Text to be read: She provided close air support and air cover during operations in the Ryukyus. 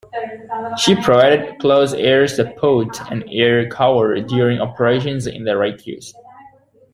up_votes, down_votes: 0, 2